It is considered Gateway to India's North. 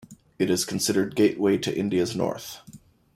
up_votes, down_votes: 2, 0